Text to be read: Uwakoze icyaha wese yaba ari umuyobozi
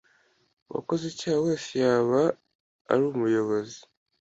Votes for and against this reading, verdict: 2, 0, accepted